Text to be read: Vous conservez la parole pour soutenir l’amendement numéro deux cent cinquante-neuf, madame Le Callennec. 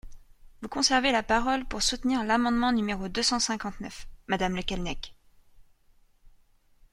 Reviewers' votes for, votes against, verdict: 2, 0, accepted